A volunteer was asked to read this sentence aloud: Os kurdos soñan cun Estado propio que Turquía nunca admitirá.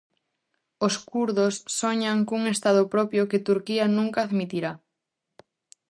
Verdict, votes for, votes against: accepted, 2, 0